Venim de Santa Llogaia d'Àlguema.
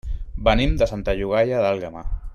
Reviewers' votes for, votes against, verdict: 3, 0, accepted